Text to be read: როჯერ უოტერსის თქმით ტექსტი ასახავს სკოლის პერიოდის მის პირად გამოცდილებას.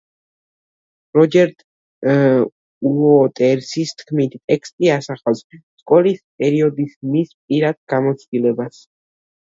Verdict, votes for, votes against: rejected, 1, 2